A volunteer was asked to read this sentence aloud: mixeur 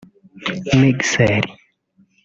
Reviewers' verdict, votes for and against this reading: rejected, 1, 2